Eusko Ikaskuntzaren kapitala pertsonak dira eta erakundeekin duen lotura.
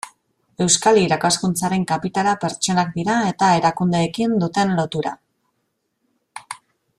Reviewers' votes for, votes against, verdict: 0, 2, rejected